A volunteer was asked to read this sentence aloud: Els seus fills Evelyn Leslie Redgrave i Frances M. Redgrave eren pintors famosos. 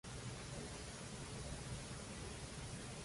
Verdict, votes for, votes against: rejected, 0, 2